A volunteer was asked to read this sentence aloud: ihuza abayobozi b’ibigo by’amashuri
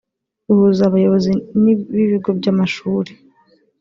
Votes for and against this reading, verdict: 1, 2, rejected